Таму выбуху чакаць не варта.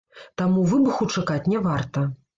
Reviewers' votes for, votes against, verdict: 1, 2, rejected